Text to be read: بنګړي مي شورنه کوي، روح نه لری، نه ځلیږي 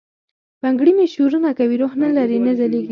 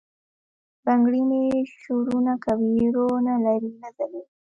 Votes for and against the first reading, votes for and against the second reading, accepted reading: 4, 0, 1, 2, first